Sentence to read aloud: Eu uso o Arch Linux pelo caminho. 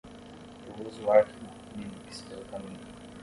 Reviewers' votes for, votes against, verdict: 5, 10, rejected